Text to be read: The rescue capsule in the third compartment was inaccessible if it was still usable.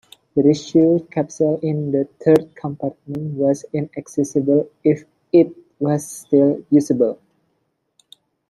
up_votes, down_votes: 1, 2